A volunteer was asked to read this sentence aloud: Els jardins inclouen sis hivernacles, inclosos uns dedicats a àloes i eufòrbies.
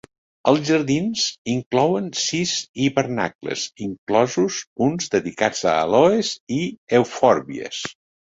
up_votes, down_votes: 2, 0